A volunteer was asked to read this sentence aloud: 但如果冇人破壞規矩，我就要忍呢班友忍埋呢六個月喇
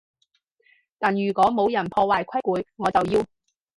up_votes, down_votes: 0, 4